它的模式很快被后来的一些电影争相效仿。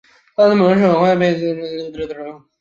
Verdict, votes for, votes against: rejected, 0, 2